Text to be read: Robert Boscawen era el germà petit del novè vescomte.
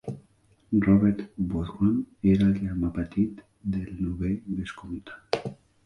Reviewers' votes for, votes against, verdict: 1, 2, rejected